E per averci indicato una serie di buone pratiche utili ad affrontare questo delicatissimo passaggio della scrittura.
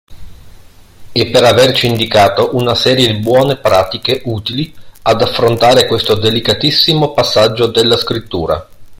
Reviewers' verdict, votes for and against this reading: accepted, 2, 0